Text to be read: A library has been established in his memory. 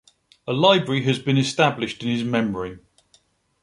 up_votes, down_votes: 2, 0